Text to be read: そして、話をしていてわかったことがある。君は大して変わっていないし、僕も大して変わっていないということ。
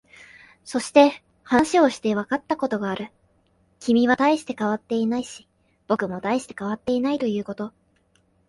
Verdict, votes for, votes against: accepted, 4, 2